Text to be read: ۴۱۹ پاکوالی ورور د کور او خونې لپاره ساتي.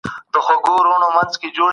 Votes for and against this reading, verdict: 0, 2, rejected